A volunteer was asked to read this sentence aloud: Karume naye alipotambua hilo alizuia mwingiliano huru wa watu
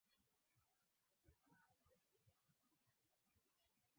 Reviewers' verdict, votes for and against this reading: rejected, 0, 2